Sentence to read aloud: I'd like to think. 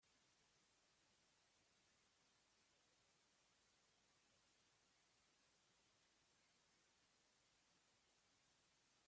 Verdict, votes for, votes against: rejected, 0, 2